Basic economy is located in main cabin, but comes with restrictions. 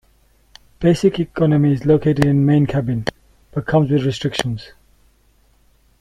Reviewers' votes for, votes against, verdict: 2, 1, accepted